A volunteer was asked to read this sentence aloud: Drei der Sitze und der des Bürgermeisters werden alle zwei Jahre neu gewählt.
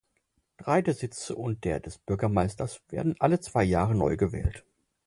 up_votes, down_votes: 4, 0